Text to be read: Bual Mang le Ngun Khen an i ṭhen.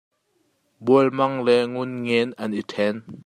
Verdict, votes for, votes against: rejected, 0, 2